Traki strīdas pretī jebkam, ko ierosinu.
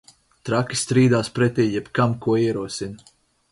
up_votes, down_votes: 0, 4